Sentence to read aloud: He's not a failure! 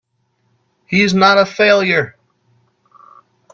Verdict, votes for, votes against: accepted, 2, 0